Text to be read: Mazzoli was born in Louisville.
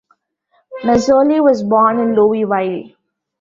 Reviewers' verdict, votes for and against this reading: rejected, 0, 2